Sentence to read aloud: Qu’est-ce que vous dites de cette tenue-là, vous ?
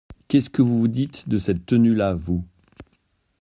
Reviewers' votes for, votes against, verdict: 1, 2, rejected